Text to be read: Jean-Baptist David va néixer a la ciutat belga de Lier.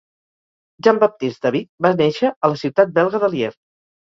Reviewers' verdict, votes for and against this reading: accepted, 4, 0